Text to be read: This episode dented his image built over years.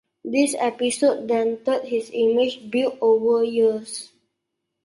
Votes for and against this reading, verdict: 2, 1, accepted